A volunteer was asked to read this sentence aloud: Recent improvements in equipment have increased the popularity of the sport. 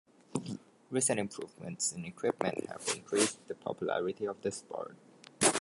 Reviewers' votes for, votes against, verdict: 1, 2, rejected